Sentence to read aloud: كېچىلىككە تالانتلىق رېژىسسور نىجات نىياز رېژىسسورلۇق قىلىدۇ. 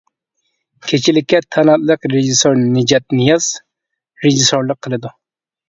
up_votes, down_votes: 0, 2